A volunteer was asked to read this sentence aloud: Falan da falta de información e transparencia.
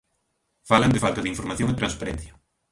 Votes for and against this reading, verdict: 0, 2, rejected